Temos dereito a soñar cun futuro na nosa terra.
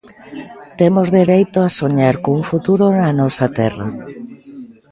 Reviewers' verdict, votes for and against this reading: accepted, 2, 0